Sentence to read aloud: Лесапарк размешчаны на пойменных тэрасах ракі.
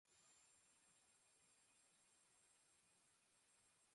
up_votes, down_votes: 0, 2